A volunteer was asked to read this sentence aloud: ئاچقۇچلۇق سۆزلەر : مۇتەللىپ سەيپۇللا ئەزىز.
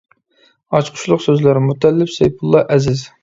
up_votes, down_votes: 2, 0